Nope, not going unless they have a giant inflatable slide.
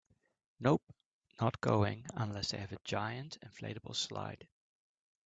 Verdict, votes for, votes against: accepted, 4, 0